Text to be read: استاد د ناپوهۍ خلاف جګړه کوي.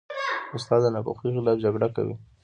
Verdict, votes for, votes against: accepted, 2, 0